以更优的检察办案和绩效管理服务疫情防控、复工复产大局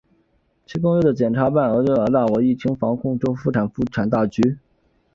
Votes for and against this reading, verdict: 0, 2, rejected